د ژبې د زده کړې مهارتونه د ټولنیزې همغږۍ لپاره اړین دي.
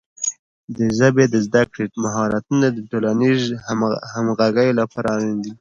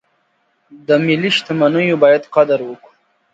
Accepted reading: first